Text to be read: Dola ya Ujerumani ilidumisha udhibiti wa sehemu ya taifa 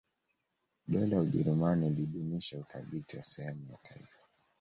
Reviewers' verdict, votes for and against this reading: rejected, 1, 2